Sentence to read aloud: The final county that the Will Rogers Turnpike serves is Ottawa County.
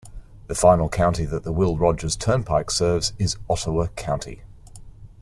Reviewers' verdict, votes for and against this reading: accepted, 2, 0